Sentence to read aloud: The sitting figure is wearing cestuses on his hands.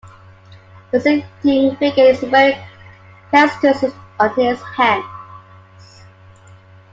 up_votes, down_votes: 3, 2